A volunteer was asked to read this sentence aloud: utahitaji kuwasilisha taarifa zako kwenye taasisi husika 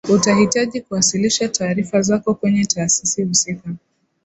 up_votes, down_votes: 2, 0